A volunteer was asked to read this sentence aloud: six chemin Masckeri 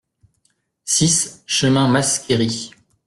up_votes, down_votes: 2, 0